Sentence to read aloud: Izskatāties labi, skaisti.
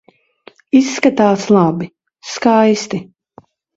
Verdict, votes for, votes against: rejected, 1, 3